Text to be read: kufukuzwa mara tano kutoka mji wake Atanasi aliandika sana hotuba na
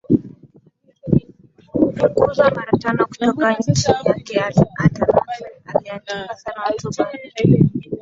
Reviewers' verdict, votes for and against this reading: rejected, 0, 2